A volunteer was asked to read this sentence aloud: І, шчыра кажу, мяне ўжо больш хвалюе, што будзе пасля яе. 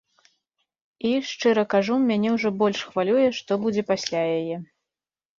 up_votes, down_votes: 2, 0